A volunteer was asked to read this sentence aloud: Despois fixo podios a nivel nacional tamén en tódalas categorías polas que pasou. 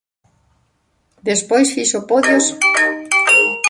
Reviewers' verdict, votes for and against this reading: rejected, 0, 2